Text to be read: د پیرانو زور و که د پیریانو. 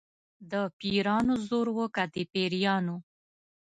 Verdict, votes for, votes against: accepted, 2, 0